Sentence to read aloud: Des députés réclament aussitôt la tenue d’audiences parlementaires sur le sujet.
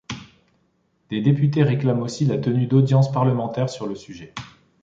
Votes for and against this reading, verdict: 1, 3, rejected